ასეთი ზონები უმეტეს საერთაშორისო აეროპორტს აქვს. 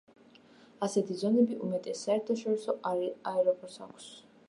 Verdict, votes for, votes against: rejected, 0, 2